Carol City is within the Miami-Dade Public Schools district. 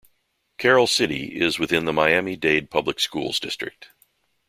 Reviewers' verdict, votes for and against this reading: accepted, 4, 0